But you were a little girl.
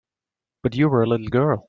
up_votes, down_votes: 2, 1